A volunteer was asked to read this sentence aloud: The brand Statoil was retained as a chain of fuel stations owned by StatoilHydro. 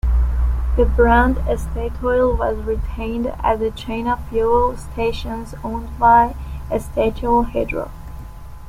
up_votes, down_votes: 1, 2